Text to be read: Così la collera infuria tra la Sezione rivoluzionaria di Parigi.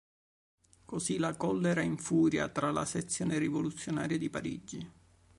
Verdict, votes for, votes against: accepted, 2, 0